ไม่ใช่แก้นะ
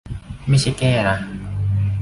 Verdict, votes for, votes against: accepted, 2, 0